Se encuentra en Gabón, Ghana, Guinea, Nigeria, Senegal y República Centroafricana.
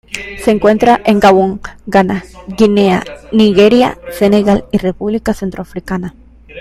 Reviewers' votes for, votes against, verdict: 1, 2, rejected